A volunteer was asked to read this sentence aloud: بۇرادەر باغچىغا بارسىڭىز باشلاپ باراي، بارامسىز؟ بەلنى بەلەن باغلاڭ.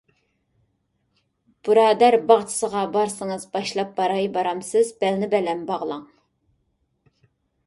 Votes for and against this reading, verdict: 0, 2, rejected